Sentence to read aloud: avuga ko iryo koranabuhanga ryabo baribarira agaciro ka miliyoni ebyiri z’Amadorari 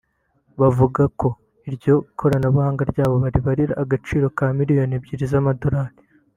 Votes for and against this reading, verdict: 1, 2, rejected